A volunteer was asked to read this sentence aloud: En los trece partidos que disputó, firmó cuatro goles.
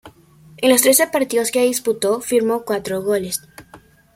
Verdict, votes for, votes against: accepted, 2, 0